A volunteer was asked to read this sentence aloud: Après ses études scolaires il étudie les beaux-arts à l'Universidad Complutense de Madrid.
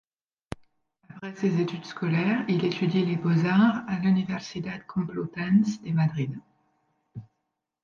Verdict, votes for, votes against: rejected, 0, 2